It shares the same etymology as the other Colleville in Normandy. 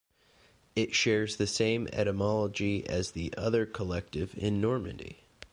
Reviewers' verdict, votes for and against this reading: rejected, 0, 2